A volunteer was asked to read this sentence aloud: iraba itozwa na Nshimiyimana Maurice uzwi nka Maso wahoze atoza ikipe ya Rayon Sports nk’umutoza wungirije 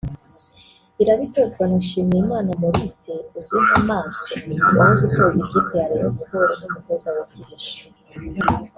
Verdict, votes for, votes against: accepted, 2, 0